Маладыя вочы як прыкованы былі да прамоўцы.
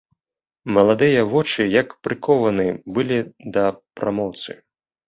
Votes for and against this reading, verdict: 1, 3, rejected